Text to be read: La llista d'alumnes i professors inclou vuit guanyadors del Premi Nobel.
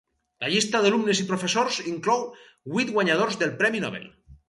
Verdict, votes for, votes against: accepted, 4, 0